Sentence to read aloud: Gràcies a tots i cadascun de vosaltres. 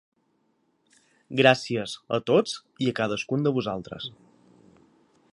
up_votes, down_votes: 3, 1